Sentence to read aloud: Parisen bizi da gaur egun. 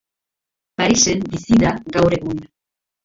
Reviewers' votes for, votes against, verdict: 2, 0, accepted